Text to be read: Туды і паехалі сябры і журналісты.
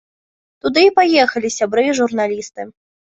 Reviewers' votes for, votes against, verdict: 3, 0, accepted